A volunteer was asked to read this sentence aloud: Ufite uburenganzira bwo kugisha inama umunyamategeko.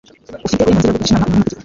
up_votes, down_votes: 1, 2